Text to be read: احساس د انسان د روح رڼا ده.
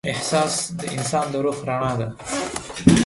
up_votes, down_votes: 0, 2